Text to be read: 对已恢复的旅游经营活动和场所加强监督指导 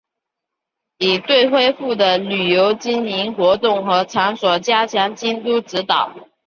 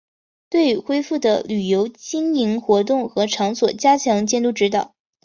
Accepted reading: second